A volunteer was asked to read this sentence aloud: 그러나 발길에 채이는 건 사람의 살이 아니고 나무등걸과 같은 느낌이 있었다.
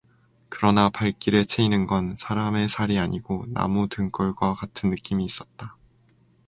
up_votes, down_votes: 0, 2